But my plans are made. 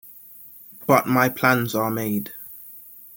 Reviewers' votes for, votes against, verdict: 2, 0, accepted